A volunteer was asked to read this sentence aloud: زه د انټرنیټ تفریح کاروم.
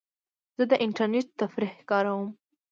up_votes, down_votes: 2, 0